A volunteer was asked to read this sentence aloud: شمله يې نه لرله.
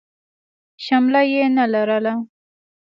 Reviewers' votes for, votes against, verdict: 2, 0, accepted